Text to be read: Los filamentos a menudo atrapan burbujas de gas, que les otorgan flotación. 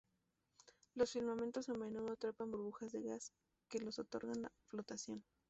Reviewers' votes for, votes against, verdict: 0, 2, rejected